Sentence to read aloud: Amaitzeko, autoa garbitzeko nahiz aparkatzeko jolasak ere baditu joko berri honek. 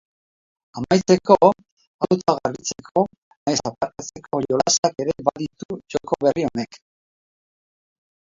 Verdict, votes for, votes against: rejected, 1, 3